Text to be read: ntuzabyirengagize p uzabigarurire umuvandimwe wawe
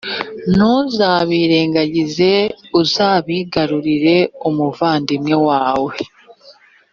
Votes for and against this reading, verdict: 2, 1, accepted